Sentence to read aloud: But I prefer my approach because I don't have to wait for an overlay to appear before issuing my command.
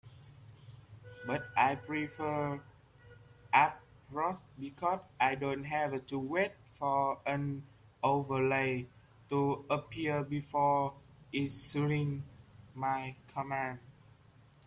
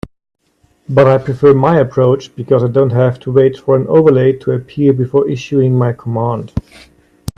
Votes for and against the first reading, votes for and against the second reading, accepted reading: 0, 2, 2, 0, second